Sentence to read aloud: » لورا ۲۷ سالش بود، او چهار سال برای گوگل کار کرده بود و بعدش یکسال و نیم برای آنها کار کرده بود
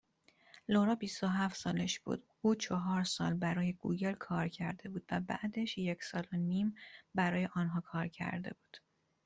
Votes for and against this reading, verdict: 0, 2, rejected